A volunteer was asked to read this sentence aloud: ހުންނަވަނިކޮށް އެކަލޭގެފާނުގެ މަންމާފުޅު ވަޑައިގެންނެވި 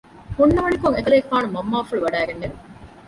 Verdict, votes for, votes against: accepted, 2, 0